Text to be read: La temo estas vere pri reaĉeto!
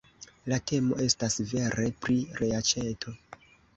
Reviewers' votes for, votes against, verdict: 2, 0, accepted